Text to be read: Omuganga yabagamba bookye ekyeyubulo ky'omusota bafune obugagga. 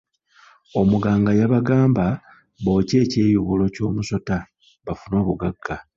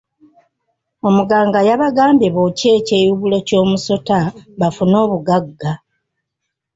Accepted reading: first